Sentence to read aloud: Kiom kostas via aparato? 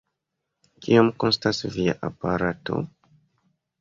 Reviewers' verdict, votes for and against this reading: accepted, 2, 0